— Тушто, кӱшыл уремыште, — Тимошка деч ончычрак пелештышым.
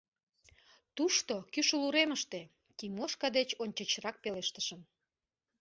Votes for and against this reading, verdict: 2, 0, accepted